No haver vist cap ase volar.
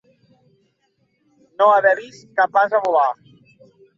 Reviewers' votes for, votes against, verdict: 2, 0, accepted